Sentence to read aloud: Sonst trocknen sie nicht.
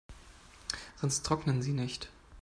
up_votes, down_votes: 2, 0